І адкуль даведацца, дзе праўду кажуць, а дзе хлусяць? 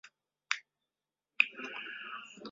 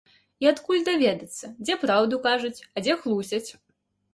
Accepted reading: second